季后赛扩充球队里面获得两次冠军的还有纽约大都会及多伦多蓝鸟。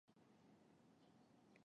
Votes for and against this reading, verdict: 2, 6, rejected